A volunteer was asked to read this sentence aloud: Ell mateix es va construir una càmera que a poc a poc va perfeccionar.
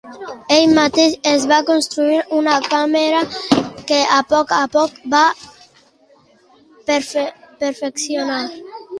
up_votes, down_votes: 0, 2